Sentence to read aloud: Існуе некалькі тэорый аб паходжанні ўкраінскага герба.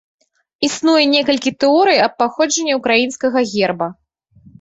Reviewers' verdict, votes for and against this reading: accepted, 2, 0